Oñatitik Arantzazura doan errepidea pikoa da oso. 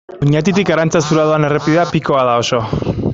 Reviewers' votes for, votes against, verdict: 1, 2, rejected